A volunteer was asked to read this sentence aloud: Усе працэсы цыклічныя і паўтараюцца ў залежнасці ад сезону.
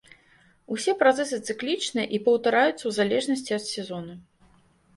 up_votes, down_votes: 2, 0